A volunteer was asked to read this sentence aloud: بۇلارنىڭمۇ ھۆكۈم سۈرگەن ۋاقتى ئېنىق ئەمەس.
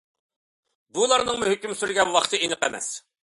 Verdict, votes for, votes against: accepted, 2, 0